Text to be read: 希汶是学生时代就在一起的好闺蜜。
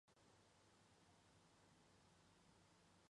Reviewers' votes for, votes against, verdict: 0, 2, rejected